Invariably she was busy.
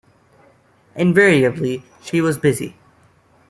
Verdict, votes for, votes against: accepted, 2, 0